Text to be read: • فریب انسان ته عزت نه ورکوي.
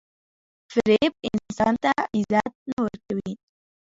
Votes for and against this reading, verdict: 2, 1, accepted